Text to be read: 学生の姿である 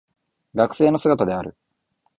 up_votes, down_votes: 2, 0